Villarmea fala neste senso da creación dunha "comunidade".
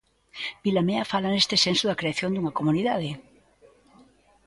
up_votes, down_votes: 0, 2